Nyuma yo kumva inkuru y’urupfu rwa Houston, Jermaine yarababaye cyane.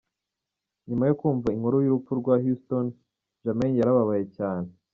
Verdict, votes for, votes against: accepted, 2, 0